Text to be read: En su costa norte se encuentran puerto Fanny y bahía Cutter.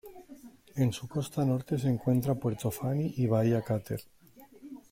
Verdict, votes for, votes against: rejected, 1, 2